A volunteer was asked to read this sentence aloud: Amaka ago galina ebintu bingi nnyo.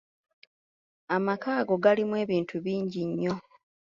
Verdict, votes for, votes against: rejected, 0, 2